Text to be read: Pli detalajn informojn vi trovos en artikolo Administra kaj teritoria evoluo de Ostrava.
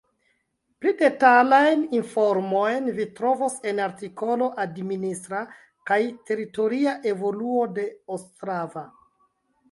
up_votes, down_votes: 2, 0